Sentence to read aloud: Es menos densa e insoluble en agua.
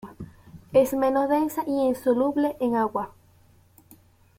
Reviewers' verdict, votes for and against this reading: rejected, 0, 2